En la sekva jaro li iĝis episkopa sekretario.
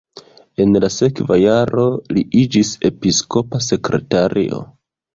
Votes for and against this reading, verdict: 1, 2, rejected